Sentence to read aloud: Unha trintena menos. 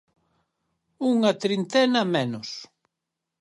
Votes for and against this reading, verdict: 4, 0, accepted